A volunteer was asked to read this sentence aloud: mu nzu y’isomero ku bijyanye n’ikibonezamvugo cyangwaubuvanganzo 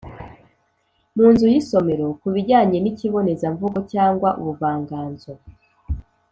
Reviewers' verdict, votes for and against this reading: accepted, 2, 0